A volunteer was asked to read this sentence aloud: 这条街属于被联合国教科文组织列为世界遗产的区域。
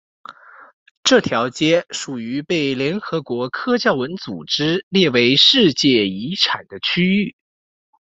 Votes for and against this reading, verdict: 1, 2, rejected